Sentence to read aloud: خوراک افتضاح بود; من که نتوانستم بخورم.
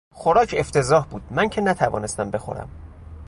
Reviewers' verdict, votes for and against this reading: accepted, 2, 0